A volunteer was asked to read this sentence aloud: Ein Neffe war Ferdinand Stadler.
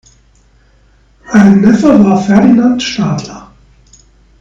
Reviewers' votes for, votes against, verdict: 2, 0, accepted